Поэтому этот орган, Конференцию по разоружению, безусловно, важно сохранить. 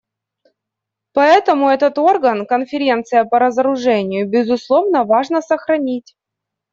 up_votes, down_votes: 0, 2